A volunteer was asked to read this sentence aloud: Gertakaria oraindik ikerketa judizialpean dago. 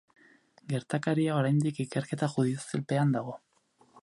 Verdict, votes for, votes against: accepted, 2, 0